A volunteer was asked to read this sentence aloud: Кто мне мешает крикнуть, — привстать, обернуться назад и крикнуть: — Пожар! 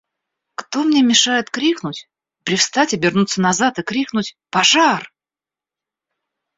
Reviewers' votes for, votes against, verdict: 2, 0, accepted